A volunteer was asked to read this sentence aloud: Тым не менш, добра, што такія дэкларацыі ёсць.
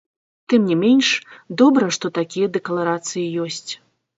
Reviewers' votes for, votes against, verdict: 1, 2, rejected